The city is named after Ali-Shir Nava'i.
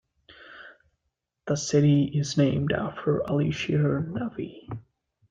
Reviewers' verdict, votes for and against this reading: accepted, 2, 0